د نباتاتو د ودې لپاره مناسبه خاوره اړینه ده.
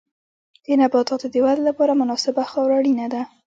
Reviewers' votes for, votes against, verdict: 1, 2, rejected